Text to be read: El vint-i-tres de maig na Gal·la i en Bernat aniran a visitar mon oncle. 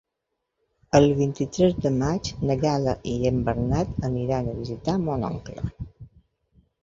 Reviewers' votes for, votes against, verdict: 2, 0, accepted